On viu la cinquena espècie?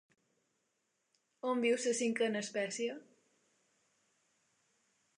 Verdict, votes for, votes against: rejected, 1, 2